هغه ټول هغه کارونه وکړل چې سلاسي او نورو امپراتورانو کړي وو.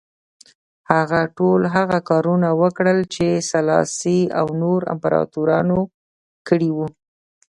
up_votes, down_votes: 2, 0